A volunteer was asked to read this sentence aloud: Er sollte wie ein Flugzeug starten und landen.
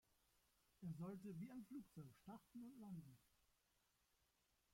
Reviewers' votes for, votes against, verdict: 1, 2, rejected